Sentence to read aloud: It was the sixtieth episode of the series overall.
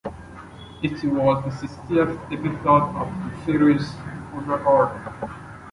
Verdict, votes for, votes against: accepted, 2, 1